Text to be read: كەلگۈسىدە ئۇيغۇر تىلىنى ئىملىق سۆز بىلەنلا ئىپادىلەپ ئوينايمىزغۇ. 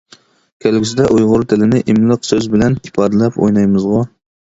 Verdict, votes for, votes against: rejected, 1, 2